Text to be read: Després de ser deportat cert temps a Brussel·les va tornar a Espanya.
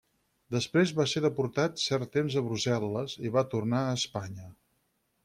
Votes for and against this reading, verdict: 2, 4, rejected